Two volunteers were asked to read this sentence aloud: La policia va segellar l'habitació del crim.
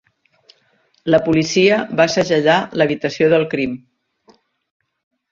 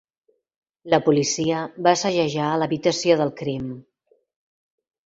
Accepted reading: first